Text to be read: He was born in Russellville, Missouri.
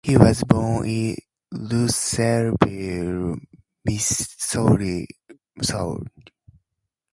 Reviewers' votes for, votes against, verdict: 2, 2, rejected